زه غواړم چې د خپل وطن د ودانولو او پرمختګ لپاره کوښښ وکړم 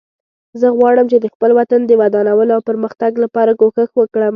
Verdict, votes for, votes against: accepted, 2, 0